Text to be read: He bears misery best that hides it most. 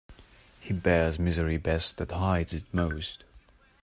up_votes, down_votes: 2, 0